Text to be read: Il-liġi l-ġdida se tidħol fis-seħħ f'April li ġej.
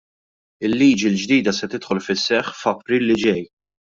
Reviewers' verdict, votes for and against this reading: accepted, 2, 0